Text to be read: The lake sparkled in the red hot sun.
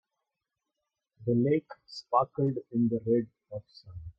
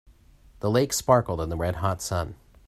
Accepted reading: second